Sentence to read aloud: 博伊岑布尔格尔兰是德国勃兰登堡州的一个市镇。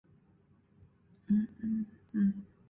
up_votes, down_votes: 1, 6